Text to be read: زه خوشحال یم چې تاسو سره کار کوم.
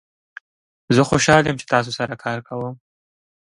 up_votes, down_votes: 2, 0